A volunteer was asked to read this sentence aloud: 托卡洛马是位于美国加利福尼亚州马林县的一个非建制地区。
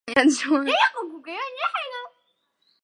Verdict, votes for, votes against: rejected, 0, 5